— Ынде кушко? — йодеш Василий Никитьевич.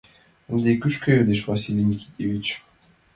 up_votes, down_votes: 2, 1